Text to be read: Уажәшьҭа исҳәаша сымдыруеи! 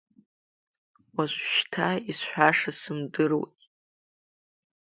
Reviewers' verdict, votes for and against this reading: accepted, 2, 1